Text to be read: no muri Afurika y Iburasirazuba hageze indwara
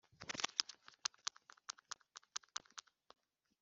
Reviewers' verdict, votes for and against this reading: rejected, 0, 2